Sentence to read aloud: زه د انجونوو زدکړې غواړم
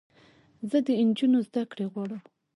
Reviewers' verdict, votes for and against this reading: rejected, 2, 3